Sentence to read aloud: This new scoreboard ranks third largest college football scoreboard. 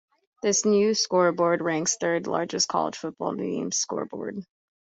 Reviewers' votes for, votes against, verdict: 0, 2, rejected